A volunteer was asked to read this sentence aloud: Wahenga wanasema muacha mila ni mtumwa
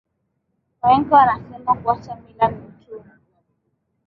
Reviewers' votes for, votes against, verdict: 4, 2, accepted